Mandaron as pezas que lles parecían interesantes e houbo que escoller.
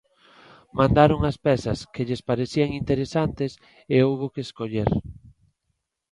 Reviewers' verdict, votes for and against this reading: accepted, 2, 0